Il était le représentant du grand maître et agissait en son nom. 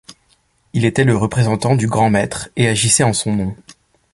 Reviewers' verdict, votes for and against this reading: accepted, 2, 0